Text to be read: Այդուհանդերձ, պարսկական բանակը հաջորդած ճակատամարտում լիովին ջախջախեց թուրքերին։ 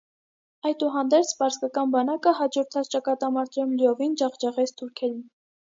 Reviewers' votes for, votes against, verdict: 2, 0, accepted